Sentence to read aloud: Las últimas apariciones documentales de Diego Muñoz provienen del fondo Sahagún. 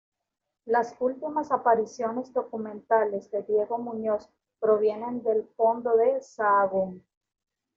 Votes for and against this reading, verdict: 2, 1, accepted